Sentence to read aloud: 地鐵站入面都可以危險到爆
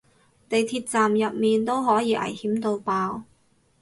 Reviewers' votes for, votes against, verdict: 2, 0, accepted